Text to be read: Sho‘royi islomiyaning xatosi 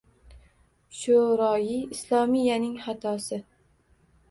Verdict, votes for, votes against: accepted, 2, 0